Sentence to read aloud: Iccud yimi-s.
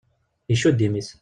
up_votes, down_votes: 1, 2